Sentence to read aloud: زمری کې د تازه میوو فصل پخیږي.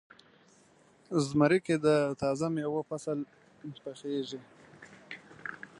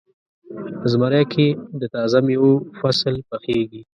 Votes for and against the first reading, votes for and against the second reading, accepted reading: 2, 1, 1, 2, first